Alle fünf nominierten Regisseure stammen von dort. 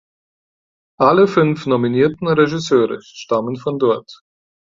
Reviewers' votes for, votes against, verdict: 4, 0, accepted